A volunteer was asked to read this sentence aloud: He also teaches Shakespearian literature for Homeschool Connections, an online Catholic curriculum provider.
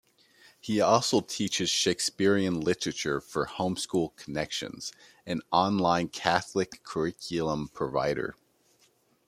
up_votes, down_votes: 1, 2